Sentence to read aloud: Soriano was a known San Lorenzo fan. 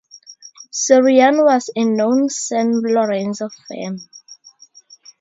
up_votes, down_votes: 2, 2